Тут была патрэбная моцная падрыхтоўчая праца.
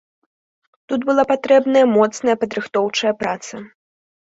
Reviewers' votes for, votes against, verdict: 2, 1, accepted